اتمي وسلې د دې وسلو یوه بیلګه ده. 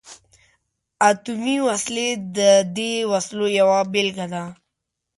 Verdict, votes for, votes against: accepted, 2, 0